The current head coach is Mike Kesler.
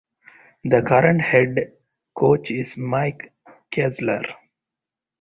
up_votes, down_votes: 2, 0